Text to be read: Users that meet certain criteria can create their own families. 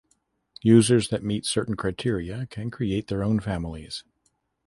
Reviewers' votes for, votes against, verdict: 2, 0, accepted